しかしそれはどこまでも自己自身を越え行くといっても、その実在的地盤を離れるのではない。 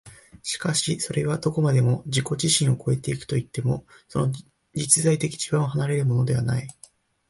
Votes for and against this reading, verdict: 3, 1, accepted